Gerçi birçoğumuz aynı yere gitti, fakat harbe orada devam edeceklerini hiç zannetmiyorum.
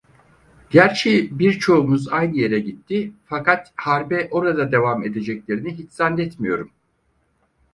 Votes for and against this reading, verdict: 4, 0, accepted